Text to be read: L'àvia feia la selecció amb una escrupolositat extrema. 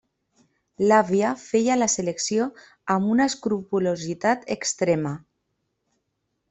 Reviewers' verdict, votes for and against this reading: accepted, 3, 0